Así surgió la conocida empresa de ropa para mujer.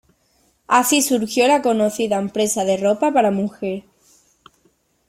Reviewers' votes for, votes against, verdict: 2, 0, accepted